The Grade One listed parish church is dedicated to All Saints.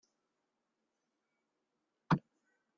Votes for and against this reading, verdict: 0, 2, rejected